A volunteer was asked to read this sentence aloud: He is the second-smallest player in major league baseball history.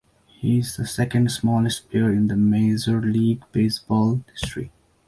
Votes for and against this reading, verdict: 2, 0, accepted